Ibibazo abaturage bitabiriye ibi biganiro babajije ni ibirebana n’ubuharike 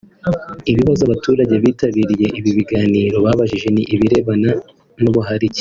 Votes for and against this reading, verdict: 3, 0, accepted